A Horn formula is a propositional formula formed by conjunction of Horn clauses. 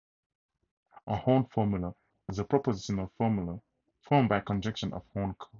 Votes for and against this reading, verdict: 0, 4, rejected